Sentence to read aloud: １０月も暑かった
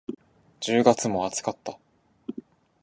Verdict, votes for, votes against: rejected, 0, 2